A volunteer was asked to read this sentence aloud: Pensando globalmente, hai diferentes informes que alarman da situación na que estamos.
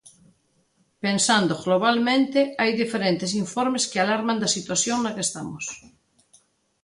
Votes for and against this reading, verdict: 2, 1, accepted